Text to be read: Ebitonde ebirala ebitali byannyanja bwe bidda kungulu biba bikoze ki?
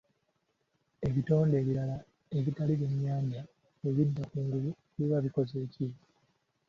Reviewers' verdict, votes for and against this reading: accepted, 2, 1